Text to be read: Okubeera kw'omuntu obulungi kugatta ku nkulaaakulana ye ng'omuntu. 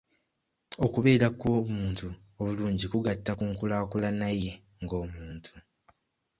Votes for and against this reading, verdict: 2, 0, accepted